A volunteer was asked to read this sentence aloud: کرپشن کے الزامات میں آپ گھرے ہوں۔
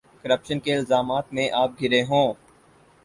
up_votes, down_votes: 4, 0